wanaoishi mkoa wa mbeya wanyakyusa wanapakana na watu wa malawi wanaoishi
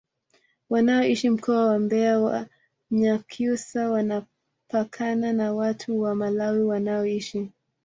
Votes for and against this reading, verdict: 2, 0, accepted